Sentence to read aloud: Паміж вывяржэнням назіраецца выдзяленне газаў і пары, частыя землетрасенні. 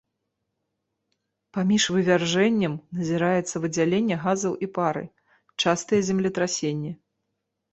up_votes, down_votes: 2, 0